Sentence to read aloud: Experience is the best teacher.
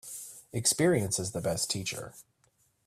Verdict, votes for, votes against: accepted, 3, 0